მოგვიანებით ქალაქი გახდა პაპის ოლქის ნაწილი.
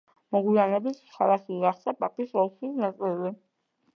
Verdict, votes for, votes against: accepted, 2, 1